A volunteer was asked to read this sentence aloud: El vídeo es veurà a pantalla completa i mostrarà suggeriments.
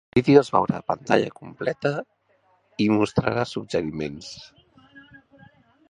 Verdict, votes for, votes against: rejected, 0, 2